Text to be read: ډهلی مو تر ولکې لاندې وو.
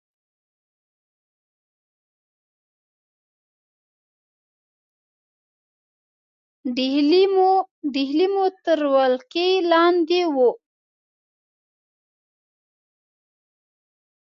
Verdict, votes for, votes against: rejected, 1, 2